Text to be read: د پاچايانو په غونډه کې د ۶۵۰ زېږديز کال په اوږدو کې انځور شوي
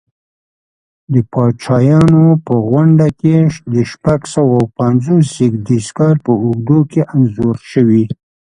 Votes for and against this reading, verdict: 0, 2, rejected